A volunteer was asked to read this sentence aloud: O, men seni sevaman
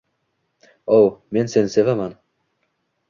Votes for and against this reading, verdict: 2, 0, accepted